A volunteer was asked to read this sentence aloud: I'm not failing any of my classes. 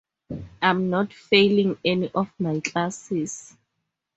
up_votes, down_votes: 4, 0